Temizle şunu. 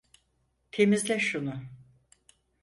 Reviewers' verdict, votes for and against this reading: accepted, 4, 0